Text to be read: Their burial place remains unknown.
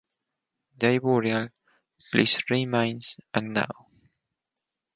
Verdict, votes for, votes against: accepted, 4, 0